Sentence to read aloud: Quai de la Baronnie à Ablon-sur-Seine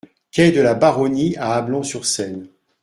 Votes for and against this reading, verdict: 2, 0, accepted